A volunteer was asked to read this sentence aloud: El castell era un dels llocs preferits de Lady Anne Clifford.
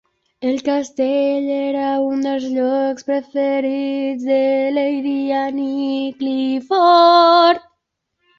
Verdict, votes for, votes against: rejected, 0, 2